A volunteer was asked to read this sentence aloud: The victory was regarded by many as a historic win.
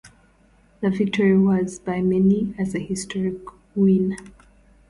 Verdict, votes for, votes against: rejected, 0, 2